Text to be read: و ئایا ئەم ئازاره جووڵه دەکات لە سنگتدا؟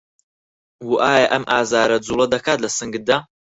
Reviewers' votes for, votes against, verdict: 2, 4, rejected